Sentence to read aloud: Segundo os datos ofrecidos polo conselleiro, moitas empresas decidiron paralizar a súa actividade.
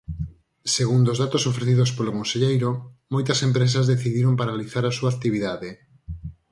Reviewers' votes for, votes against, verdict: 34, 4, accepted